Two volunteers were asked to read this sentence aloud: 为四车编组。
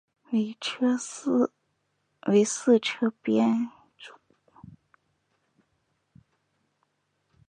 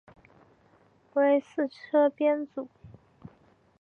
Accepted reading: second